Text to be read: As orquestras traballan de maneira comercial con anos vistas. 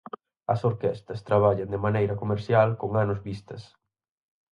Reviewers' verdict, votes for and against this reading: rejected, 2, 4